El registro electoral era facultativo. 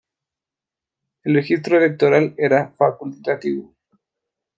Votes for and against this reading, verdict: 1, 2, rejected